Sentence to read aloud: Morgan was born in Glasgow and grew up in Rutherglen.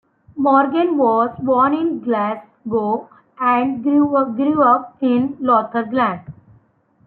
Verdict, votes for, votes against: rejected, 1, 2